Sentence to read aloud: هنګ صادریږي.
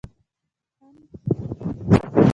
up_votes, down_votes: 1, 2